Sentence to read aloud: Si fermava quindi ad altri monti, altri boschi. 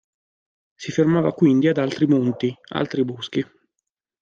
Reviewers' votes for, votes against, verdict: 2, 0, accepted